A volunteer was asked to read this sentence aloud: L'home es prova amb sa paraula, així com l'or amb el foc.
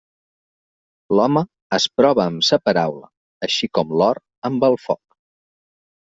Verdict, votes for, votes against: accepted, 4, 0